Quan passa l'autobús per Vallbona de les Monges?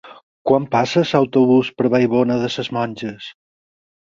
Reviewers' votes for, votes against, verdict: 2, 6, rejected